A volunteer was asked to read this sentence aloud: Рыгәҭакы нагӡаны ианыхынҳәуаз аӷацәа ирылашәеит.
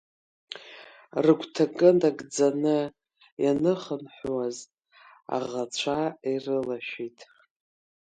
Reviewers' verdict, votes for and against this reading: accepted, 2, 0